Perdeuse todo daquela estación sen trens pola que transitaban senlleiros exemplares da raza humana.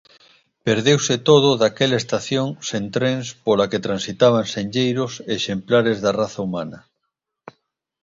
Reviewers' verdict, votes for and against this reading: accepted, 2, 0